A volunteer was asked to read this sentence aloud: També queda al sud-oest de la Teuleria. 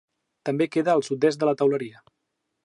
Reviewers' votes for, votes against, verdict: 0, 2, rejected